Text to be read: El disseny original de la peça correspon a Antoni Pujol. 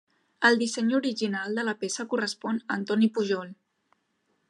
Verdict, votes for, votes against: accepted, 3, 0